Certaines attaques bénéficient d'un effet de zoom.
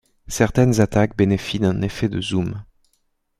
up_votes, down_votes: 1, 2